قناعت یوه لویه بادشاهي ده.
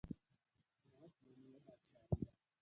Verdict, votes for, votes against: rejected, 0, 2